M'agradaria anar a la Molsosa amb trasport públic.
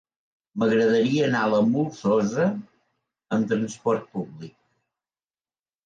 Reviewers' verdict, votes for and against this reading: accepted, 2, 0